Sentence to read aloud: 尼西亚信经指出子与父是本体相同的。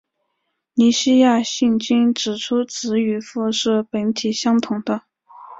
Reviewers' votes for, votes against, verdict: 7, 1, accepted